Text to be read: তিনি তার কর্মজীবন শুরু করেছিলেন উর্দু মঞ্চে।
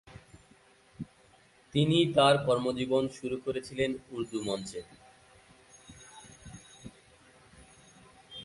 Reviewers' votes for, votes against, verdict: 6, 0, accepted